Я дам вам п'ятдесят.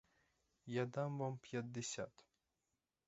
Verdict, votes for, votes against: accepted, 4, 2